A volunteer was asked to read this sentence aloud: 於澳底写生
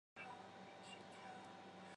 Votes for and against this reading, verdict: 3, 4, rejected